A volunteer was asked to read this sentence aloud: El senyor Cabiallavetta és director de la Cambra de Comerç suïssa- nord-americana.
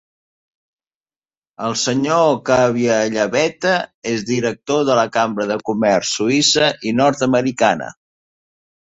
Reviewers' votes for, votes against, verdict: 0, 2, rejected